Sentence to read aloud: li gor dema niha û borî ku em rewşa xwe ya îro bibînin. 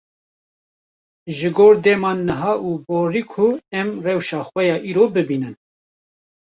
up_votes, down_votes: 0, 2